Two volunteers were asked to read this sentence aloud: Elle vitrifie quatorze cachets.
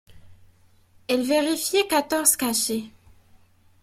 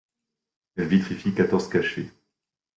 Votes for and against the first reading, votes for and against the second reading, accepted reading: 0, 2, 2, 0, second